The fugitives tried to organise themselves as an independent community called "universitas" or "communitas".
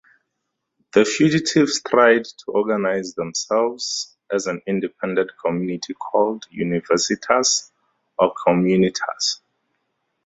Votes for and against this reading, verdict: 2, 0, accepted